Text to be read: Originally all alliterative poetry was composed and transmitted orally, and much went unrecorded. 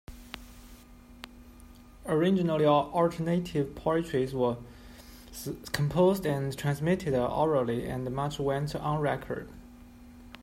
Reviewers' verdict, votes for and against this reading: rejected, 1, 2